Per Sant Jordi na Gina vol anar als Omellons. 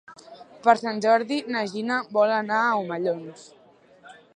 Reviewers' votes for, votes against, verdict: 0, 2, rejected